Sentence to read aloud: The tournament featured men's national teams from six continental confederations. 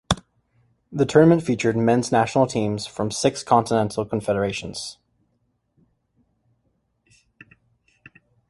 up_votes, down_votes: 2, 0